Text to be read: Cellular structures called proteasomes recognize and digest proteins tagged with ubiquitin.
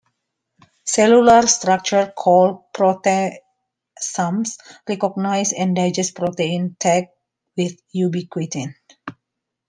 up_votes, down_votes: 2, 0